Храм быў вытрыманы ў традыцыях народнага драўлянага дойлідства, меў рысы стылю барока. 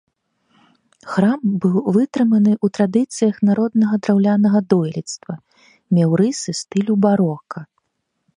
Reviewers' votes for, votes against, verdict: 2, 0, accepted